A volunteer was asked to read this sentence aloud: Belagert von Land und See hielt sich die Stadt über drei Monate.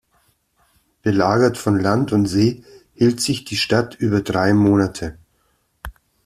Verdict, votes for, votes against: accepted, 2, 0